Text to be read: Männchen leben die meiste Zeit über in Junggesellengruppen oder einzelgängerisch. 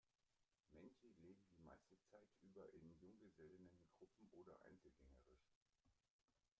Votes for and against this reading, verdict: 0, 2, rejected